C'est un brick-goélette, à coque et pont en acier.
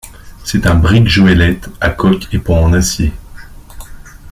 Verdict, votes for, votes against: rejected, 1, 2